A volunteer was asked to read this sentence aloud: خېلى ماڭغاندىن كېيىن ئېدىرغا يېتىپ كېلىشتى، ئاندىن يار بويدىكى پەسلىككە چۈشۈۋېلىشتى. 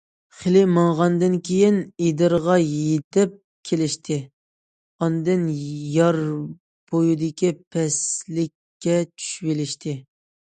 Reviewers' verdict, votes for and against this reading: accepted, 2, 0